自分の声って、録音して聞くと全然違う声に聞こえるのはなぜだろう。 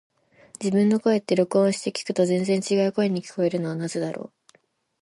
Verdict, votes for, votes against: accepted, 2, 1